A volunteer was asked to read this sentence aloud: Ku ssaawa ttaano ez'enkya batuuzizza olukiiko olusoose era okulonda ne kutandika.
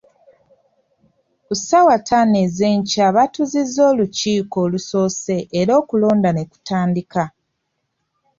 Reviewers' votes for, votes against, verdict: 2, 0, accepted